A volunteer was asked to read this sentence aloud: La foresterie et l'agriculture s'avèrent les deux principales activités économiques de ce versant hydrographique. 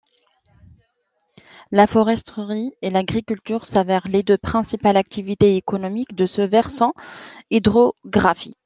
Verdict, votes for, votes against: accepted, 2, 0